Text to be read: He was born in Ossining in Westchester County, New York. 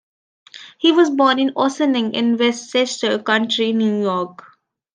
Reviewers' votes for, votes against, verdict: 1, 2, rejected